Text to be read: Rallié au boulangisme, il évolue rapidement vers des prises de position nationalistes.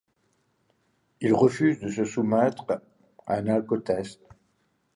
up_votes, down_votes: 0, 2